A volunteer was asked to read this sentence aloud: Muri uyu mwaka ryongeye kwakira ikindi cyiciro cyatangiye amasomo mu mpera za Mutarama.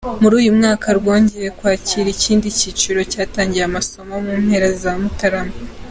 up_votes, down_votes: 0, 2